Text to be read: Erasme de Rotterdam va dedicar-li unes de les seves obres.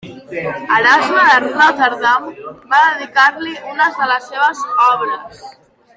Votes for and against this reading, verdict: 0, 3, rejected